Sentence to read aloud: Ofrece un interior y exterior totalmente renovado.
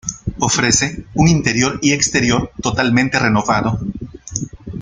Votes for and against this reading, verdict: 1, 2, rejected